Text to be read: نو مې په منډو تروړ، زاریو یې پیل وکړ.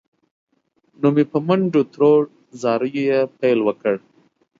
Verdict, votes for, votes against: accepted, 2, 0